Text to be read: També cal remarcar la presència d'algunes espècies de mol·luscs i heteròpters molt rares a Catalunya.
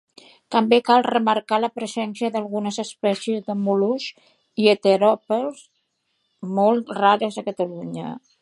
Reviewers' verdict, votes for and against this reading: rejected, 1, 2